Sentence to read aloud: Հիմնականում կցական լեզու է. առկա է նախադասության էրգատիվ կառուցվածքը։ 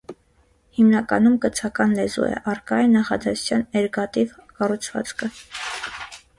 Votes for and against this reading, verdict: 0, 2, rejected